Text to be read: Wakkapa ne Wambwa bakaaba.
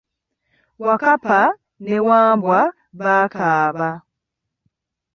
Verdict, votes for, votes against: rejected, 2, 3